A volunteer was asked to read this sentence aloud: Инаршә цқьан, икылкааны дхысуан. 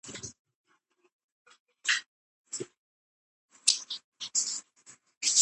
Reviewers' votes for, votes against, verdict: 0, 8, rejected